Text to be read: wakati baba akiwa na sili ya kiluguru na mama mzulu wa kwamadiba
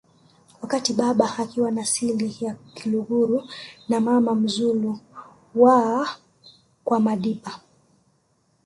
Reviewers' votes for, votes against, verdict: 0, 2, rejected